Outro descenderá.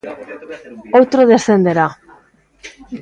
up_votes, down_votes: 2, 0